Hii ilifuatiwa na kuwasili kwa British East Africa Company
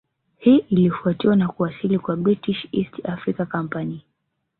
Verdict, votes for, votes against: accepted, 2, 0